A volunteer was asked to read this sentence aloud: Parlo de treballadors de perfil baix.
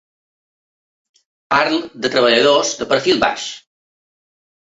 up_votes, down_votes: 2, 0